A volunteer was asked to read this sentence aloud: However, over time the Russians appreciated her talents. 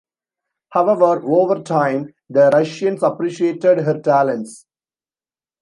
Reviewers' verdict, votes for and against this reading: rejected, 1, 2